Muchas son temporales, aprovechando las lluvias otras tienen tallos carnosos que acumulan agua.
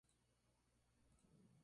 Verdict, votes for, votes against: rejected, 0, 2